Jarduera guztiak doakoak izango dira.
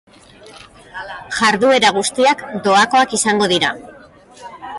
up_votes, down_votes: 0, 2